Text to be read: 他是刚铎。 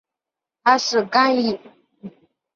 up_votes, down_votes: 0, 3